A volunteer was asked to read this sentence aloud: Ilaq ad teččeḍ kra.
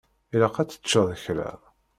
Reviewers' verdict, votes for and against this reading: accepted, 2, 0